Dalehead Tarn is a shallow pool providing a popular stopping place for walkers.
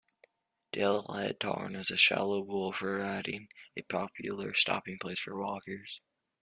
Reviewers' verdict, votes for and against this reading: accepted, 2, 0